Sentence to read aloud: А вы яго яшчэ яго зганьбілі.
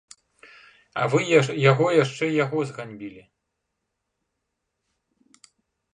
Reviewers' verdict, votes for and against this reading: rejected, 0, 2